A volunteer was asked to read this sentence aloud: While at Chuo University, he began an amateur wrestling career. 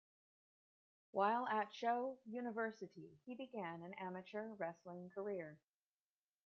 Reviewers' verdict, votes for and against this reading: rejected, 1, 2